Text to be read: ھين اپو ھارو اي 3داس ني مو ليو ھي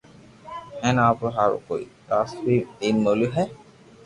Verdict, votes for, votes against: rejected, 0, 2